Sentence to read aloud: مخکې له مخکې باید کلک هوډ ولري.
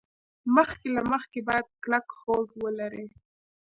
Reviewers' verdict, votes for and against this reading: rejected, 1, 2